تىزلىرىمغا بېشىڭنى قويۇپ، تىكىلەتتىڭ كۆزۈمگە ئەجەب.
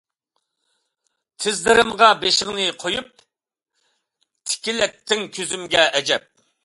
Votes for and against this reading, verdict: 2, 0, accepted